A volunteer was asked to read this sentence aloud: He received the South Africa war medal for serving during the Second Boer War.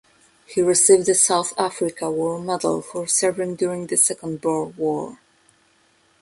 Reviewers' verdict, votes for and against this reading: rejected, 0, 2